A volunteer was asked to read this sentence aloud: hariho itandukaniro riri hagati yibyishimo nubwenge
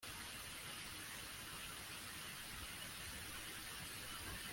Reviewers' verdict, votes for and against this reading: rejected, 0, 2